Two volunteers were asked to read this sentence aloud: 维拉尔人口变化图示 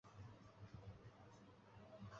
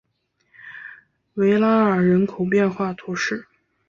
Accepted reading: second